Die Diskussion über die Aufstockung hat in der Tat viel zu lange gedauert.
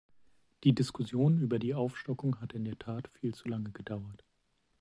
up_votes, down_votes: 2, 0